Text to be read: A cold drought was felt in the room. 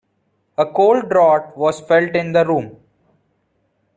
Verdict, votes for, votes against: rejected, 0, 2